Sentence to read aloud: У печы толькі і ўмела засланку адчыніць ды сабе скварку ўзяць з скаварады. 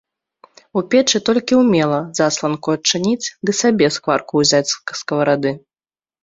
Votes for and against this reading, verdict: 2, 0, accepted